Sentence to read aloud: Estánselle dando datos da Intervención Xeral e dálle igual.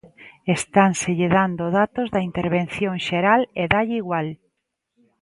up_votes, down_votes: 5, 1